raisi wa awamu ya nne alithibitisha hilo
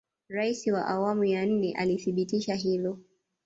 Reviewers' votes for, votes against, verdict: 1, 2, rejected